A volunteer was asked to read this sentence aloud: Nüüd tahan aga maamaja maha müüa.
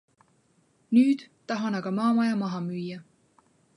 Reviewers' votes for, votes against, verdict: 2, 0, accepted